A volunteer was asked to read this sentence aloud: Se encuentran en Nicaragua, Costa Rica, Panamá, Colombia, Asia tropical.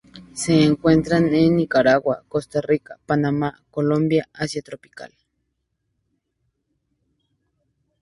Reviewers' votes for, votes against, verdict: 2, 0, accepted